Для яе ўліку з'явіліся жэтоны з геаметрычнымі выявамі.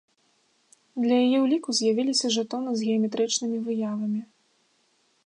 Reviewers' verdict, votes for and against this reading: accepted, 3, 0